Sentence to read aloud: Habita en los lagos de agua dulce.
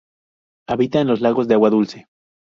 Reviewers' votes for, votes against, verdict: 2, 2, rejected